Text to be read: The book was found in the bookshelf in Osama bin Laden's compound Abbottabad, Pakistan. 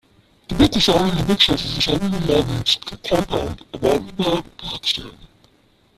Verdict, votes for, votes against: rejected, 0, 2